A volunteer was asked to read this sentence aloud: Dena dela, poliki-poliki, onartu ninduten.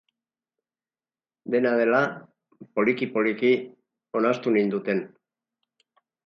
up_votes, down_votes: 6, 0